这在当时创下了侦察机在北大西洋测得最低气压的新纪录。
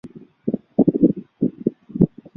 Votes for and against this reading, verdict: 1, 2, rejected